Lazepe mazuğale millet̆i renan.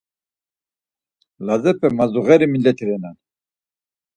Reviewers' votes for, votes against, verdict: 2, 4, rejected